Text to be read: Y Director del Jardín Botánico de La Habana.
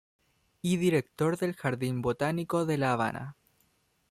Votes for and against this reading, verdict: 1, 2, rejected